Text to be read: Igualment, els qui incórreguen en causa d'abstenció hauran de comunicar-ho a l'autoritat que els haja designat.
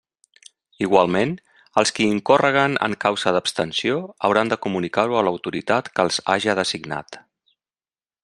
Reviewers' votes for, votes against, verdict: 2, 0, accepted